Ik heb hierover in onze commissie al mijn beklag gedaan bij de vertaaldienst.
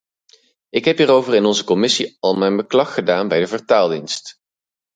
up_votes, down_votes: 2, 2